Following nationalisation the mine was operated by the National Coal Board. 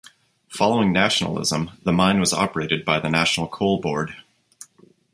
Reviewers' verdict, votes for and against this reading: rejected, 0, 2